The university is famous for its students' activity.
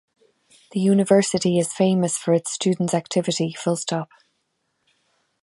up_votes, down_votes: 0, 2